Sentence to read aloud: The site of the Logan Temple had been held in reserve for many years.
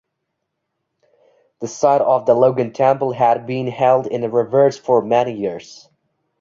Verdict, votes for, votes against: rejected, 1, 2